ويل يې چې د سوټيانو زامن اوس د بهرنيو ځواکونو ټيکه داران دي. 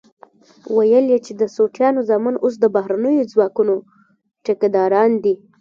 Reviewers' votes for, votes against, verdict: 1, 2, rejected